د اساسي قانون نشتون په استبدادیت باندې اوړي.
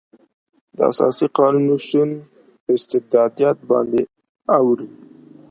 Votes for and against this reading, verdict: 2, 0, accepted